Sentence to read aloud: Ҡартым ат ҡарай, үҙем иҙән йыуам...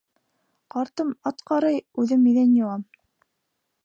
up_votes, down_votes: 2, 1